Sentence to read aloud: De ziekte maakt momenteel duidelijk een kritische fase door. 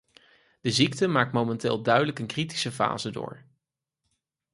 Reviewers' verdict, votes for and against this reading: accepted, 4, 0